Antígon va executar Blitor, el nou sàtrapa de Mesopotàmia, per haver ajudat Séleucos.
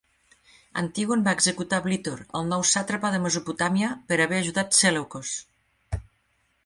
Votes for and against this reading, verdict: 3, 0, accepted